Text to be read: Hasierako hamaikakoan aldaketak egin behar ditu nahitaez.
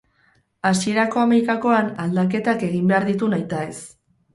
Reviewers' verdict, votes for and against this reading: rejected, 0, 2